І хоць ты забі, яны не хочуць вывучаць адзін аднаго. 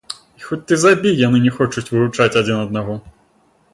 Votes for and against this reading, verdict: 1, 2, rejected